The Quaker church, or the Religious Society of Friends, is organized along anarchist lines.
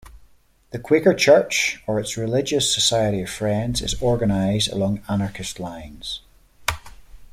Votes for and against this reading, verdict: 1, 2, rejected